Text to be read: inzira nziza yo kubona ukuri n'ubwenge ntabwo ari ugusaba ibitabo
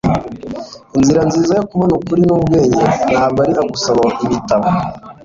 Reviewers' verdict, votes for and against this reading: accepted, 2, 0